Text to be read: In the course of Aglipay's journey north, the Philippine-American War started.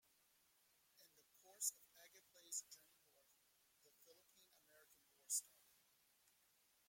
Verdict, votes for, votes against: rejected, 0, 2